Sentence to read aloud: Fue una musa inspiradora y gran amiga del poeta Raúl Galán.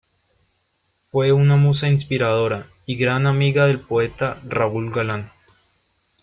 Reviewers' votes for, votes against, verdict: 2, 0, accepted